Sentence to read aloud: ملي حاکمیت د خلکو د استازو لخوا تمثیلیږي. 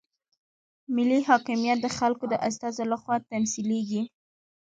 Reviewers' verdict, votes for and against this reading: accepted, 2, 0